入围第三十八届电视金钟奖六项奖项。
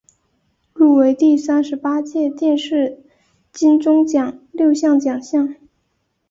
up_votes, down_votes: 2, 0